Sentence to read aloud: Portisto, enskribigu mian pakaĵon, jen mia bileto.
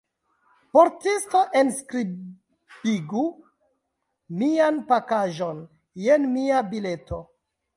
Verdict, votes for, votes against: rejected, 1, 2